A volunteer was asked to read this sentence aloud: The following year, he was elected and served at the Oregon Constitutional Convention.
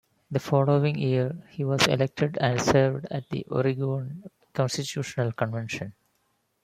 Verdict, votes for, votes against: rejected, 1, 2